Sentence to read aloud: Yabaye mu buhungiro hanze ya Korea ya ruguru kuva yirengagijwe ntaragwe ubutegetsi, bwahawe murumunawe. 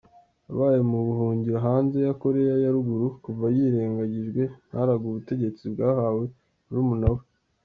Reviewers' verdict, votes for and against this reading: accepted, 2, 0